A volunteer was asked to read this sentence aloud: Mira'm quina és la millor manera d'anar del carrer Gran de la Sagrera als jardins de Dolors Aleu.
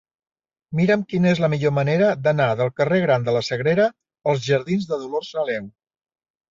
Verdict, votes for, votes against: rejected, 1, 2